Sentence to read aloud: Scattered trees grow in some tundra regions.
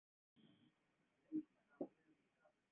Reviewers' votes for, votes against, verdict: 0, 2, rejected